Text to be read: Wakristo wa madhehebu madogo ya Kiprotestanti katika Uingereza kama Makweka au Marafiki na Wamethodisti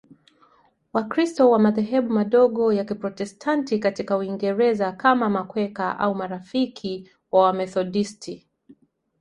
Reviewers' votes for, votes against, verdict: 1, 3, rejected